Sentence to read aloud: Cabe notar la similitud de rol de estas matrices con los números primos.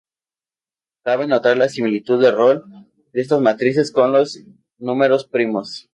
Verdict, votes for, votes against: rejected, 0, 2